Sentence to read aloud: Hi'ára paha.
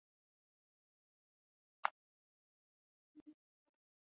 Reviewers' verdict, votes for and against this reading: rejected, 0, 2